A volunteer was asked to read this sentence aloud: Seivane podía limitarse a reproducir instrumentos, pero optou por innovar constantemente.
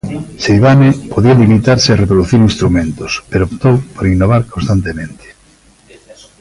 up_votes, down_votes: 1, 2